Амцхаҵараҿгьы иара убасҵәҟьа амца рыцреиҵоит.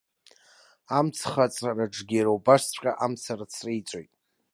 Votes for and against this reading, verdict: 2, 0, accepted